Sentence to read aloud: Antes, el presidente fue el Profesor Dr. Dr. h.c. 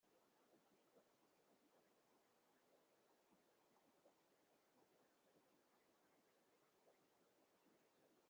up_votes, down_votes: 0, 2